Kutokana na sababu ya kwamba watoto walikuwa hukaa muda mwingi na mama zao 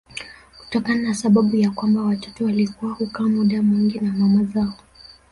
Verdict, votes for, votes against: accepted, 2, 0